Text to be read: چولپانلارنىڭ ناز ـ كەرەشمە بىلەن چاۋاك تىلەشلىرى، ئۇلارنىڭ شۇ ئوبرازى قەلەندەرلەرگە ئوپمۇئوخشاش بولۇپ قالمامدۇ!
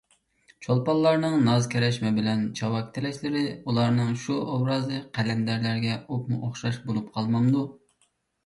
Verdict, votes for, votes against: accepted, 2, 0